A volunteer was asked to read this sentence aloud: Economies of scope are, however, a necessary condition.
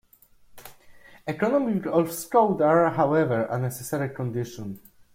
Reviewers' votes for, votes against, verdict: 2, 0, accepted